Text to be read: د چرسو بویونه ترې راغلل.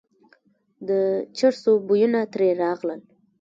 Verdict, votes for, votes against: rejected, 1, 2